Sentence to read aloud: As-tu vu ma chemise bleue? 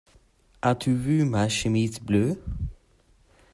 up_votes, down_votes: 2, 1